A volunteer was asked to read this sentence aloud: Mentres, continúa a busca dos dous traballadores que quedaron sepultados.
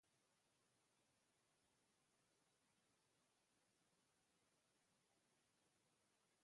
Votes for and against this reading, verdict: 0, 3, rejected